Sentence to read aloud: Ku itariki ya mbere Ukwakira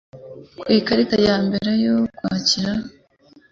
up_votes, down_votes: 1, 2